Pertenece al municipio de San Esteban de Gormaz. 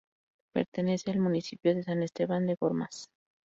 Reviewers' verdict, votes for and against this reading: accepted, 2, 0